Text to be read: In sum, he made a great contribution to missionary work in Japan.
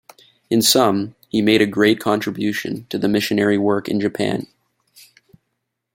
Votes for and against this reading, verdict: 0, 2, rejected